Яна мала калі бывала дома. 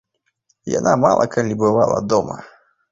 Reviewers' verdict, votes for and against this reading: accepted, 2, 0